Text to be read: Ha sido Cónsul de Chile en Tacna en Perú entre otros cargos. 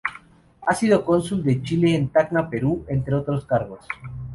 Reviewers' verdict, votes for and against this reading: rejected, 2, 2